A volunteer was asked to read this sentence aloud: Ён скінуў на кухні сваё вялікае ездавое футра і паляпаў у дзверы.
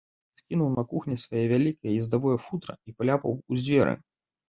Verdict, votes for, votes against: rejected, 0, 2